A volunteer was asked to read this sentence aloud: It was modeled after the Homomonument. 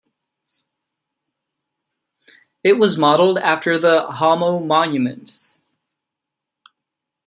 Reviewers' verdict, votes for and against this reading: rejected, 0, 2